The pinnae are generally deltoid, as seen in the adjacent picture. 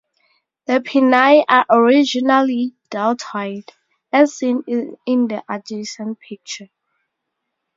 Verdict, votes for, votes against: rejected, 0, 4